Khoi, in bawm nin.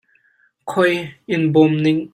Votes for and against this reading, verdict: 0, 2, rejected